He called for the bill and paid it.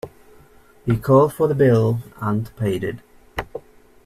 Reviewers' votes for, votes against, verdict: 2, 0, accepted